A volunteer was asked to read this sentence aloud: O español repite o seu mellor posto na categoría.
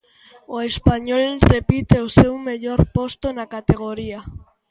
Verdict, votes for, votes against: accepted, 2, 0